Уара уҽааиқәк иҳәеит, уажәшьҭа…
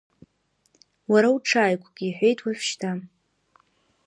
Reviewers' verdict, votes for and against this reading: rejected, 0, 2